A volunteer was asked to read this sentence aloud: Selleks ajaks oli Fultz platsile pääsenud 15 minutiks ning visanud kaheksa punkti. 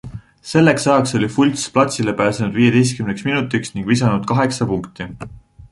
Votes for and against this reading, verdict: 0, 2, rejected